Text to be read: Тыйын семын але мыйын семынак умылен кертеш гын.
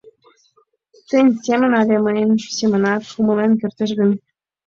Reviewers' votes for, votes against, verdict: 1, 2, rejected